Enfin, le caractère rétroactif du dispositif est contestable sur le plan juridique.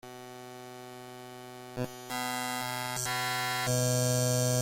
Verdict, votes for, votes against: rejected, 0, 2